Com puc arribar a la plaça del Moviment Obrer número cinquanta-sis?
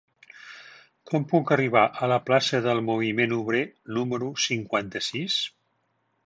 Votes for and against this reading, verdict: 3, 0, accepted